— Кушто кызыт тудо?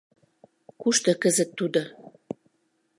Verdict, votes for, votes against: accepted, 2, 0